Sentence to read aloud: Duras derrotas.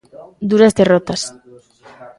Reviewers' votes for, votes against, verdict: 0, 2, rejected